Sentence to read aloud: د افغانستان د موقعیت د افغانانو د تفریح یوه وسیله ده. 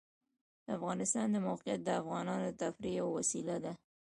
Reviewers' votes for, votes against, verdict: 0, 2, rejected